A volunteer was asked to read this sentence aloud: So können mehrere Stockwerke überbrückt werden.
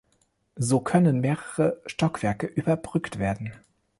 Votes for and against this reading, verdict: 1, 2, rejected